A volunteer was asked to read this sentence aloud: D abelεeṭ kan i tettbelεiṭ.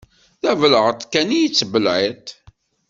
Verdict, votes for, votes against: accepted, 2, 1